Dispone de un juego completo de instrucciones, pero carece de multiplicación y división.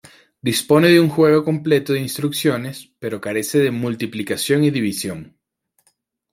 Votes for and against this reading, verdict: 2, 0, accepted